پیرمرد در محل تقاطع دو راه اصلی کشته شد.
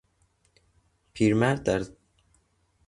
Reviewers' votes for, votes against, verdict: 0, 2, rejected